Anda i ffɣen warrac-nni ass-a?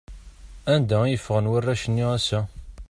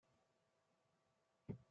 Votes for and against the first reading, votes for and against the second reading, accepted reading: 2, 0, 0, 2, first